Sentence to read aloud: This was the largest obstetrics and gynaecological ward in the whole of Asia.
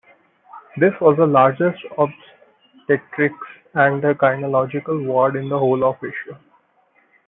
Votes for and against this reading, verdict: 1, 2, rejected